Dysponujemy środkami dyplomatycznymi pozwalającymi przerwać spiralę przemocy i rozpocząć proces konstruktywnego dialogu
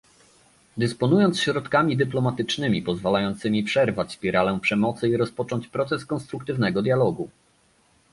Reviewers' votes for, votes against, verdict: 0, 2, rejected